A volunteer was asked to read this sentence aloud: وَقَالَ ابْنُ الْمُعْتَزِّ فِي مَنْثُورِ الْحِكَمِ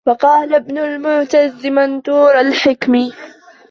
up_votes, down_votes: 1, 2